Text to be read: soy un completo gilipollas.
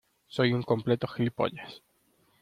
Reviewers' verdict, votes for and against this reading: accepted, 2, 0